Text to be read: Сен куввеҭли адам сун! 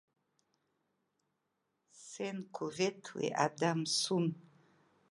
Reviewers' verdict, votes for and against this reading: rejected, 0, 2